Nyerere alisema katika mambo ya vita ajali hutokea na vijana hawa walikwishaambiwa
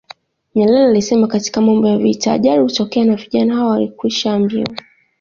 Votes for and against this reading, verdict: 2, 0, accepted